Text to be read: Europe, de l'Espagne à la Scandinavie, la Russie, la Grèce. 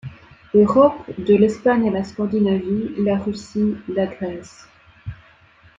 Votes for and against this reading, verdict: 2, 0, accepted